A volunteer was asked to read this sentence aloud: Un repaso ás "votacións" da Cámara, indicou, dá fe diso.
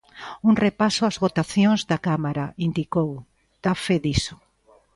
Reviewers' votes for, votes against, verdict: 2, 0, accepted